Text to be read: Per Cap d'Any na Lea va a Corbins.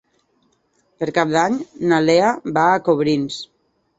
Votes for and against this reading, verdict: 0, 2, rejected